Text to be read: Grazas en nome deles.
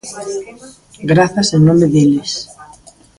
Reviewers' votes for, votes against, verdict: 2, 1, accepted